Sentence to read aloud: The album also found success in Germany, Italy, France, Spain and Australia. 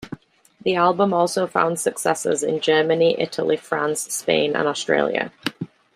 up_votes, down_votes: 1, 2